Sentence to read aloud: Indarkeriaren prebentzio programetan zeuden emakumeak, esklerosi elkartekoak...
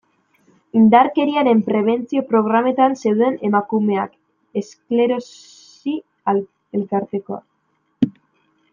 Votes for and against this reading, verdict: 1, 2, rejected